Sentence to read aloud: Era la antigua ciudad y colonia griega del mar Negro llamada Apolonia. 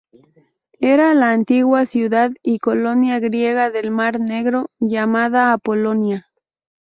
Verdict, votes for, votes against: accepted, 2, 0